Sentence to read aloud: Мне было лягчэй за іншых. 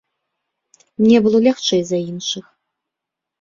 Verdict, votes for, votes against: accepted, 2, 0